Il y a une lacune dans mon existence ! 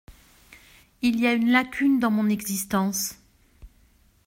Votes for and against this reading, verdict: 2, 0, accepted